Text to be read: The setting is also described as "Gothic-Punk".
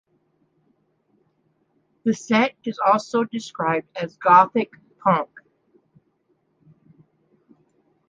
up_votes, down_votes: 0, 2